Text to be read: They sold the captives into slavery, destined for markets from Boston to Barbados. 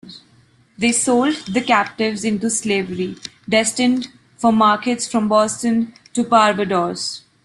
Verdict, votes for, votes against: accepted, 2, 1